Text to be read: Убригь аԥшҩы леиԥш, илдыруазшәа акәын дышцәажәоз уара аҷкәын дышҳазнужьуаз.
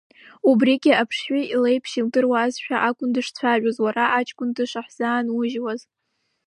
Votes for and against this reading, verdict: 0, 2, rejected